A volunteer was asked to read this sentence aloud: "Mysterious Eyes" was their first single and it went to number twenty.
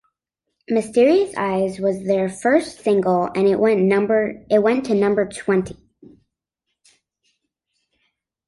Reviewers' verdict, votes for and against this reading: rejected, 2, 3